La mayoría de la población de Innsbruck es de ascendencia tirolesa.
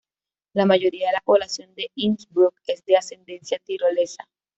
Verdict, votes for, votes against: accepted, 2, 0